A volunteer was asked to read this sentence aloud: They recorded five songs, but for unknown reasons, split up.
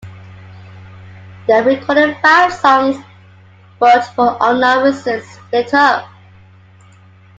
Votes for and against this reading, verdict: 2, 1, accepted